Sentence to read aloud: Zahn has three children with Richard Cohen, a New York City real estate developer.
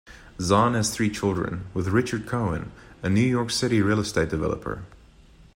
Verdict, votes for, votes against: accepted, 2, 0